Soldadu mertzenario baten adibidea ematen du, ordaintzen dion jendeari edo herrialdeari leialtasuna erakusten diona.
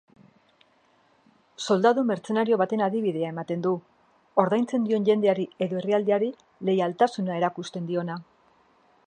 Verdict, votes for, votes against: rejected, 1, 2